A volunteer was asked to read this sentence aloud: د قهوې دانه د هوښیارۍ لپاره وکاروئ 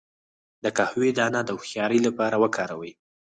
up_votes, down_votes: 0, 4